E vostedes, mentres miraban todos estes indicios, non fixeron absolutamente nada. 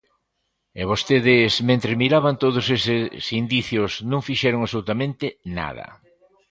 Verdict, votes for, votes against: accepted, 2, 1